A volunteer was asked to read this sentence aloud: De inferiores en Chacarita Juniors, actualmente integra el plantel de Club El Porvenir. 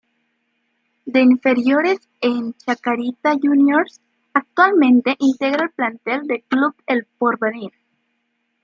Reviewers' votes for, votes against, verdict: 0, 2, rejected